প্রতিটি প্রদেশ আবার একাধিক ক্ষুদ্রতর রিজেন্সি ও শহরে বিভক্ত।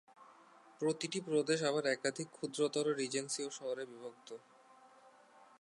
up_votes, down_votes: 2, 0